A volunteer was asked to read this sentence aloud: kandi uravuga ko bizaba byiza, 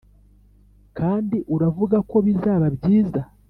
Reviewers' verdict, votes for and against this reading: accepted, 2, 0